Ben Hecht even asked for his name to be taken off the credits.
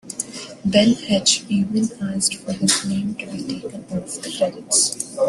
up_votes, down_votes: 1, 2